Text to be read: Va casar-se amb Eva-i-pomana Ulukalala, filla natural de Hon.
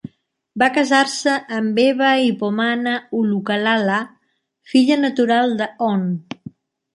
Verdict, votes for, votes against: accepted, 3, 0